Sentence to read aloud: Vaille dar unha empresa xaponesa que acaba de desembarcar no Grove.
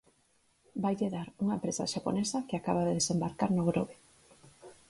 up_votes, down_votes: 4, 0